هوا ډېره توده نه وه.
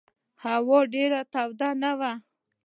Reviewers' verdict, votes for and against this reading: accepted, 2, 0